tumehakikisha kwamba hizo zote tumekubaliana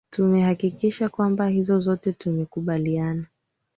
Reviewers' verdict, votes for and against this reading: accepted, 3, 1